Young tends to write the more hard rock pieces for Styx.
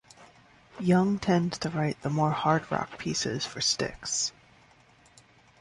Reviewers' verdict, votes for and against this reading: accepted, 2, 0